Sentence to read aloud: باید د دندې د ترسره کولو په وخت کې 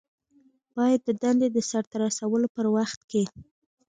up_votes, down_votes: 2, 0